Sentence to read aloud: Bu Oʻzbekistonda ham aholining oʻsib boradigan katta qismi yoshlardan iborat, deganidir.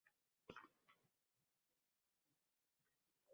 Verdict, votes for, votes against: rejected, 0, 2